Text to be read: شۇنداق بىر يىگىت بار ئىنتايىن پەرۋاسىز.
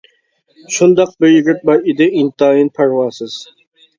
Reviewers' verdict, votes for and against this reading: rejected, 0, 2